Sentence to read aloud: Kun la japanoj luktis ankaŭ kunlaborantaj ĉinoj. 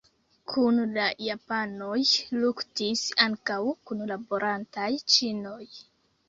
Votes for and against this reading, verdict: 0, 2, rejected